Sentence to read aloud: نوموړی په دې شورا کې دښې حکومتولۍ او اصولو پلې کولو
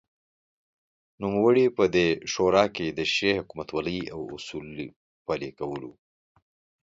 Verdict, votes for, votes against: accepted, 2, 0